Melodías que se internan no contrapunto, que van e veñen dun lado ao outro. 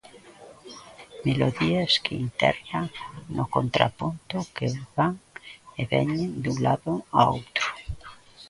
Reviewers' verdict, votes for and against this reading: rejected, 0, 2